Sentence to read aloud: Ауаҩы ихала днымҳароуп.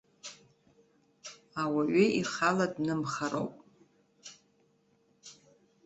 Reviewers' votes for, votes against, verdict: 0, 2, rejected